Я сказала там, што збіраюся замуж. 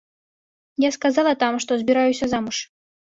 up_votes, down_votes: 2, 0